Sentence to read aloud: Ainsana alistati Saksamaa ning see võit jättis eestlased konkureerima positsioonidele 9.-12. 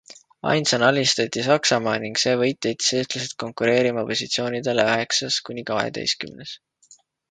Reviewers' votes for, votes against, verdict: 0, 2, rejected